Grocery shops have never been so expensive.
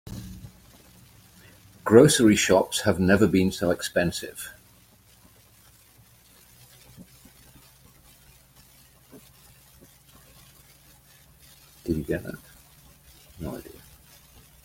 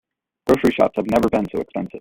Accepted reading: second